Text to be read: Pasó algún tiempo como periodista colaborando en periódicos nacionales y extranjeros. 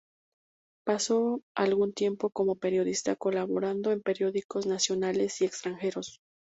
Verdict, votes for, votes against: accepted, 2, 0